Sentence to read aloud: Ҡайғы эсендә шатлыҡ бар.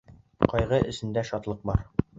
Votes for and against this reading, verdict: 1, 2, rejected